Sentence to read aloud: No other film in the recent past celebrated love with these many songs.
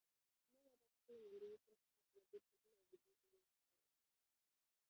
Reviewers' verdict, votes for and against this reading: rejected, 0, 2